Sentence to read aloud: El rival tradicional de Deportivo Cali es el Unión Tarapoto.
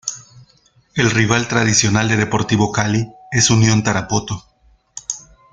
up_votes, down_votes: 1, 2